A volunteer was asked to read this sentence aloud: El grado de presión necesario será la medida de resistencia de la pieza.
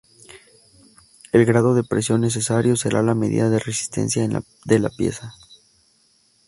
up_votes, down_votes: 2, 0